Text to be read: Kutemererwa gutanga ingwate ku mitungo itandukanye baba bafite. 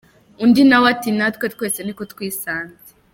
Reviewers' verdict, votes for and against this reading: rejected, 0, 2